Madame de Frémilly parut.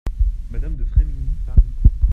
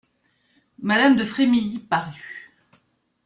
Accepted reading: second